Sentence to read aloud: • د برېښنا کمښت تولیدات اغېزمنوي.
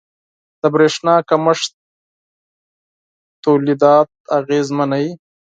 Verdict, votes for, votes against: accepted, 4, 0